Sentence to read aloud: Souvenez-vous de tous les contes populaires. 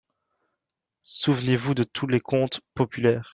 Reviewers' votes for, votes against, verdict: 1, 2, rejected